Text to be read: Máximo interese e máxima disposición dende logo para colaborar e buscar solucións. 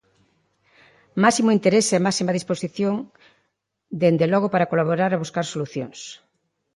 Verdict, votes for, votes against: accepted, 2, 1